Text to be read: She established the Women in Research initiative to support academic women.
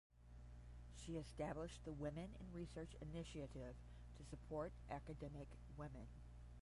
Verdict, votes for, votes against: rejected, 5, 5